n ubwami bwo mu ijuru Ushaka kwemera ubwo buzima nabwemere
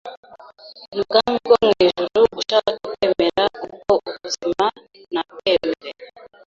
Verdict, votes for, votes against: accepted, 2, 0